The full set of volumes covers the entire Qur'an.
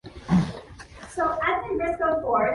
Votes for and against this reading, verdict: 1, 2, rejected